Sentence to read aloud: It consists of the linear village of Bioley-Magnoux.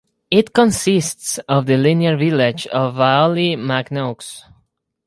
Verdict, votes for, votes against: rejected, 2, 4